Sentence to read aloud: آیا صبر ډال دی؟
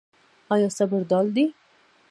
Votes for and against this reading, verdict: 1, 2, rejected